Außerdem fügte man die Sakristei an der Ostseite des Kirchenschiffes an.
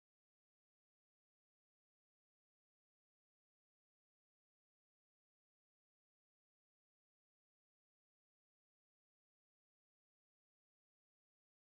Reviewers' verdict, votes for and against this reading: rejected, 0, 2